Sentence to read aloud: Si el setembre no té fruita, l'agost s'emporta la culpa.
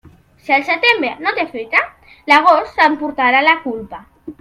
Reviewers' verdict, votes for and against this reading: rejected, 1, 2